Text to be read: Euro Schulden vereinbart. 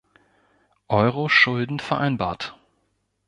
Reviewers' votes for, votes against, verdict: 2, 0, accepted